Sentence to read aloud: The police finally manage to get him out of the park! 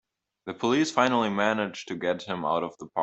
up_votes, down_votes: 1, 2